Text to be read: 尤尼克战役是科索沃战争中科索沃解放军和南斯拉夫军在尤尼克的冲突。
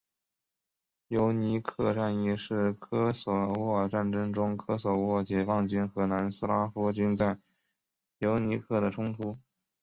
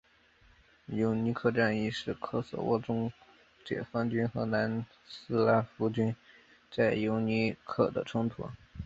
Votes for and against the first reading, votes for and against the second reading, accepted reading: 2, 0, 1, 3, first